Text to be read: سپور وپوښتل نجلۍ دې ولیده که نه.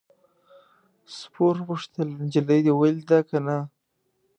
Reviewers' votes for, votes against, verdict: 2, 0, accepted